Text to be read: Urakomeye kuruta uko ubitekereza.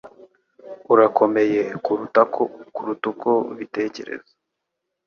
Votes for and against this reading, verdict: 2, 1, accepted